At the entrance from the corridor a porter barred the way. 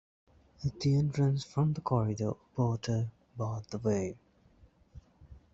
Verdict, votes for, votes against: rejected, 1, 2